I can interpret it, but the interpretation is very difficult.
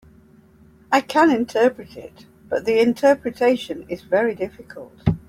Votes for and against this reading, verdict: 2, 0, accepted